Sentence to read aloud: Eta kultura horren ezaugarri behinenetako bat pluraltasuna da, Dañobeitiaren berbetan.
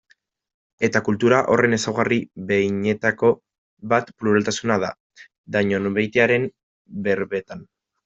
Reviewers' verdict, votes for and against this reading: rejected, 1, 2